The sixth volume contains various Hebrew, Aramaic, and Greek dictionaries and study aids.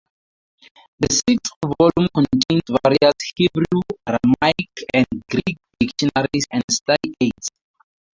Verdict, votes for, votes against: accepted, 2, 0